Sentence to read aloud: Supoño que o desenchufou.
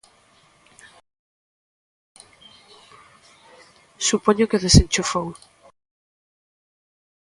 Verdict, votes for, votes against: accepted, 2, 0